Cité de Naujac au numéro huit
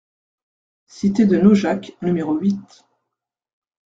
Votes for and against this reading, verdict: 1, 2, rejected